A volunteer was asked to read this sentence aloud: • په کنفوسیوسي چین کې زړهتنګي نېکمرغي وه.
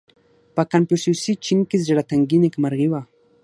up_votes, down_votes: 6, 0